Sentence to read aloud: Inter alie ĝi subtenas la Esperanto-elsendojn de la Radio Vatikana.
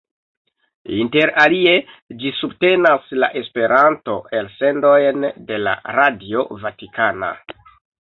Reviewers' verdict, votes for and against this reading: rejected, 1, 2